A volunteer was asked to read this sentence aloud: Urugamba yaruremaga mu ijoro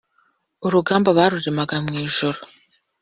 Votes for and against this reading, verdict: 1, 2, rejected